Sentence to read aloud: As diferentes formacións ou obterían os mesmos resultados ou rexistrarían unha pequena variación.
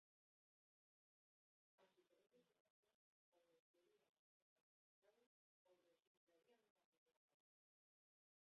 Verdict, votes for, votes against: rejected, 0, 2